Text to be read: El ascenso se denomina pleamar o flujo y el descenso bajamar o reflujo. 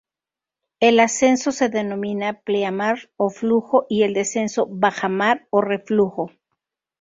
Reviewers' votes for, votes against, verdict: 6, 0, accepted